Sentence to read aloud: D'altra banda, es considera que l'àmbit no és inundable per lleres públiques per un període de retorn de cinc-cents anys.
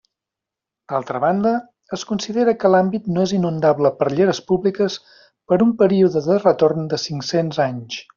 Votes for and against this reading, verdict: 2, 0, accepted